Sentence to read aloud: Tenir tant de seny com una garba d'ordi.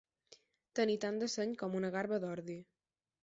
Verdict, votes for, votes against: accepted, 4, 0